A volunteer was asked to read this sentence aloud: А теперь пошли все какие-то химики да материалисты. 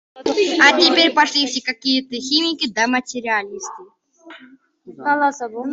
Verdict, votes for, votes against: rejected, 0, 2